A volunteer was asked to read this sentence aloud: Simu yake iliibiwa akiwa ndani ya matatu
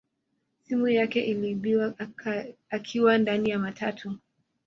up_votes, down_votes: 1, 2